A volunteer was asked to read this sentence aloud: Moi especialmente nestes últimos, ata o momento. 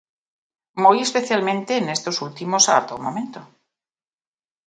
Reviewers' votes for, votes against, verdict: 0, 2, rejected